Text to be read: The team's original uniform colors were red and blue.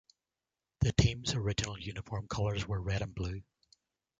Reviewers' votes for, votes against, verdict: 2, 0, accepted